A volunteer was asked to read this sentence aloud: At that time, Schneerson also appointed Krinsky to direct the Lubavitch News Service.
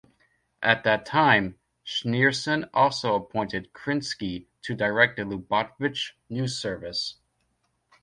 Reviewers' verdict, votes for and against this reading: accepted, 2, 0